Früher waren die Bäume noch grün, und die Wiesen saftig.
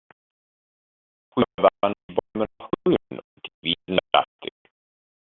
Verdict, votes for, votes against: rejected, 0, 2